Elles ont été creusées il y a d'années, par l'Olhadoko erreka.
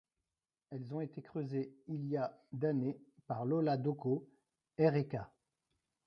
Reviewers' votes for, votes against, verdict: 0, 2, rejected